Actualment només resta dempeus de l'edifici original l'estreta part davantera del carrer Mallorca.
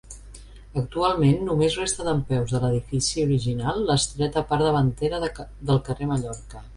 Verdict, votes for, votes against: rejected, 1, 2